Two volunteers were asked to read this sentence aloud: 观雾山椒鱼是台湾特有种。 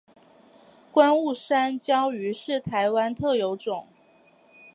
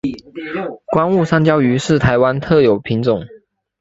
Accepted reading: first